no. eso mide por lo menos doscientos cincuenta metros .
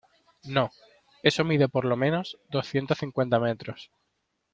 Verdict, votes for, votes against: accepted, 2, 0